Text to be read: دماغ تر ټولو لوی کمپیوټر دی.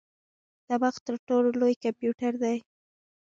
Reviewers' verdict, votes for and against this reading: accepted, 2, 0